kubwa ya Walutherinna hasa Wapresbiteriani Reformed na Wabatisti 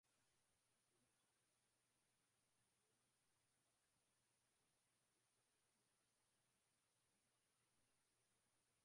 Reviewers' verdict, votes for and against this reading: rejected, 0, 2